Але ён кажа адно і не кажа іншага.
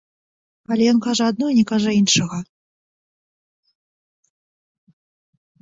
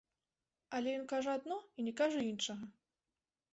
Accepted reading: second